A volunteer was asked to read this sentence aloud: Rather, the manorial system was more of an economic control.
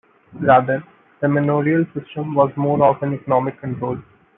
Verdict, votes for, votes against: rejected, 0, 2